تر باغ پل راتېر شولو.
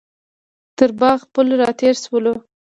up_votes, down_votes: 0, 2